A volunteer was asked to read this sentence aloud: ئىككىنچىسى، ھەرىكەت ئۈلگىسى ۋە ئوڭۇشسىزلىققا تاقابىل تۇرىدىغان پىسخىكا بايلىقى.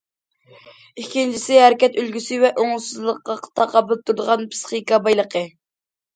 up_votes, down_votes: 2, 0